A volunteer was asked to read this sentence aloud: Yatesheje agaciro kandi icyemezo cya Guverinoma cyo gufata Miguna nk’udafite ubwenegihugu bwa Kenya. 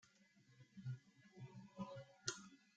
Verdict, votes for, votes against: rejected, 0, 2